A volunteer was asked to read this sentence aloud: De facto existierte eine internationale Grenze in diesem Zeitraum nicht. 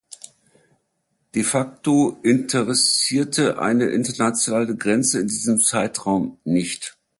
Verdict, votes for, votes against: rejected, 1, 2